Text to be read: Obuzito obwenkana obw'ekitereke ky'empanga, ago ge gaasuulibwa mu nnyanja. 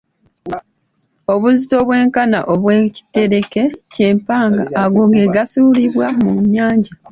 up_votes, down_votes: 2, 0